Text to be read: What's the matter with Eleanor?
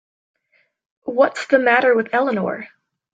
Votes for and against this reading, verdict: 3, 0, accepted